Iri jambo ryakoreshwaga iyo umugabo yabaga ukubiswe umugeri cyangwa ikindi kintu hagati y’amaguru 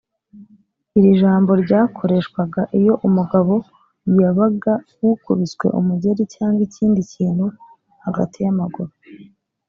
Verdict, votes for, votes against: rejected, 0, 2